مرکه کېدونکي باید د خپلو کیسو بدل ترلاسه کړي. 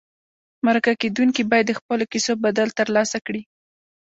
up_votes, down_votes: 0, 2